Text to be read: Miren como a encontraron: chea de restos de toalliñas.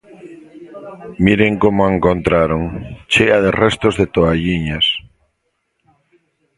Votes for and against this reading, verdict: 2, 1, accepted